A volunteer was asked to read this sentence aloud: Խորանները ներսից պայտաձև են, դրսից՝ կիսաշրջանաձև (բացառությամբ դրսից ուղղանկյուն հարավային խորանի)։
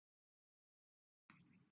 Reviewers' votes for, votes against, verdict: 0, 2, rejected